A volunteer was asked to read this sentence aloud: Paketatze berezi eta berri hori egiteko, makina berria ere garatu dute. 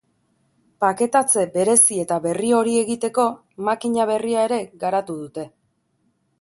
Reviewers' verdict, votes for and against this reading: accepted, 2, 0